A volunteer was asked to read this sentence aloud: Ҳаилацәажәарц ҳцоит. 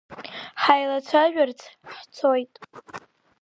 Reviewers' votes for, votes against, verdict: 2, 0, accepted